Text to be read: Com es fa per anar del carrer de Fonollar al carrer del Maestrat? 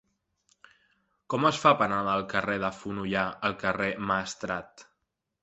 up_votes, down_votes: 0, 2